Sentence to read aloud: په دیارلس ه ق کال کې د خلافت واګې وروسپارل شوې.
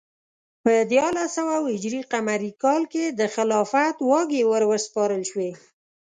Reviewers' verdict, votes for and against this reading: rejected, 1, 2